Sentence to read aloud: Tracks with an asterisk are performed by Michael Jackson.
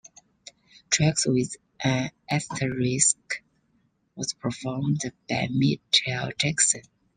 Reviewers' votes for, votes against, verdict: 0, 2, rejected